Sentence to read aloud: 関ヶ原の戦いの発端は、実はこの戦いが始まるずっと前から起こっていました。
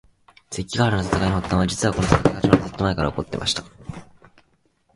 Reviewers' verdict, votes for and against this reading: rejected, 0, 4